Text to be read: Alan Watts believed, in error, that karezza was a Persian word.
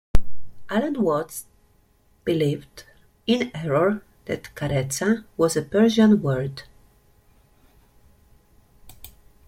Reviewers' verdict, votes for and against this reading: accepted, 2, 1